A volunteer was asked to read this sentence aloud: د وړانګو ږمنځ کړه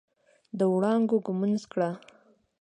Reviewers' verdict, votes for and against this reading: accepted, 2, 0